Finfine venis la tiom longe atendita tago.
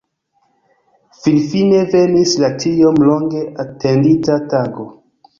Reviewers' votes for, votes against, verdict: 2, 0, accepted